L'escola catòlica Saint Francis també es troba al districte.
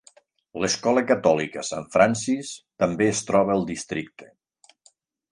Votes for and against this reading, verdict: 4, 0, accepted